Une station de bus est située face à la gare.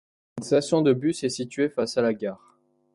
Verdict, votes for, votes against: rejected, 0, 2